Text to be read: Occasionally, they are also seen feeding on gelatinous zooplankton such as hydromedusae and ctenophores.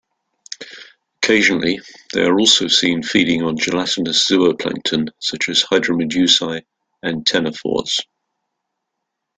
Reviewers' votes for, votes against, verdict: 2, 0, accepted